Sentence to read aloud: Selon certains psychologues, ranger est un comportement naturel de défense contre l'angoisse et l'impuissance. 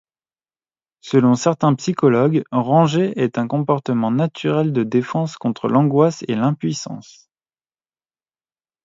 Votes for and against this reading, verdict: 2, 0, accepted